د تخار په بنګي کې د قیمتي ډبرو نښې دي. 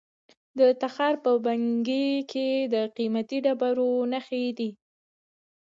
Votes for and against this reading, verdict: 2, 0, accepted